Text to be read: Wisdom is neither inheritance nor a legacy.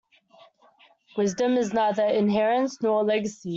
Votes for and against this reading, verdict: 1, 2, rejected